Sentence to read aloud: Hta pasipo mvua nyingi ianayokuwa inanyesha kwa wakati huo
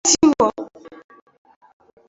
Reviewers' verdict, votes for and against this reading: rejected, 0, 2